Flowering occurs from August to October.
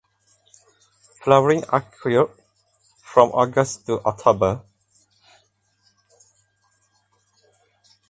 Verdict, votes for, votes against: rejected, 0, 2